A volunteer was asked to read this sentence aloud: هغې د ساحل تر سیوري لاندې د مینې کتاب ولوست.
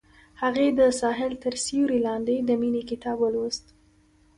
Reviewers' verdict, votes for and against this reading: accepted, 2, 0